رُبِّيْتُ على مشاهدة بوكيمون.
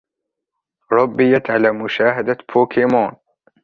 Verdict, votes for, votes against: rejected, 0, 2